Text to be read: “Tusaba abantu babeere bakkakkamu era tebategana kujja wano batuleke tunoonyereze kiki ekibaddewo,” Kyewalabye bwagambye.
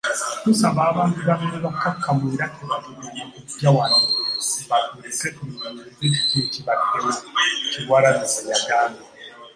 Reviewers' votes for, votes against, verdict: 1, 2, rejected